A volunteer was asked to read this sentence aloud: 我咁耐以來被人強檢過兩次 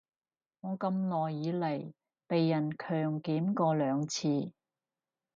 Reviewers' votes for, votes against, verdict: 2, 4, rejected